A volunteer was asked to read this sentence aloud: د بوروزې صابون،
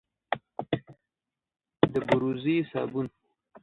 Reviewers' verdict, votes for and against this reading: rejected, 1, 2